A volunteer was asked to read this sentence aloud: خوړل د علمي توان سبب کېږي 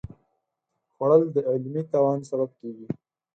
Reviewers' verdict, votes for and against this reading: accepted, 4, 0